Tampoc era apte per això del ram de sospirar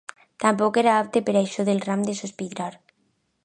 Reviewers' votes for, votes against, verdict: 2, 1, accepted